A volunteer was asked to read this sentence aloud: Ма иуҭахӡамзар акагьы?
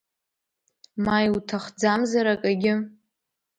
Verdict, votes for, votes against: accepted, 3, 0